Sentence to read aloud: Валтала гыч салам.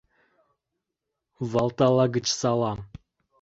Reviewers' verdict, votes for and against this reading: accepted, 2, 0